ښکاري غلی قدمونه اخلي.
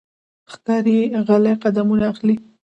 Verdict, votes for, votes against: rejected, 0, 2